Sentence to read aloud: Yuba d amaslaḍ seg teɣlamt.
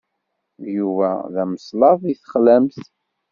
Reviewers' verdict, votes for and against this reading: rejected, 1, 2